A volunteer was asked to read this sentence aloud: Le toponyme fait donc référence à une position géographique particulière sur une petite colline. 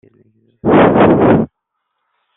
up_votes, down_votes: 0, 2